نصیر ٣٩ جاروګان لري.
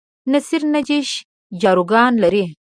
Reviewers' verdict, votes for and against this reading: rejected, 0, 2